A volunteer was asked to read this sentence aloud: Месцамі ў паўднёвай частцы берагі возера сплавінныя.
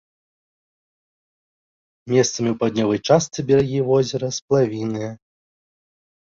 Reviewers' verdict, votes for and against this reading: accepted, 2, 0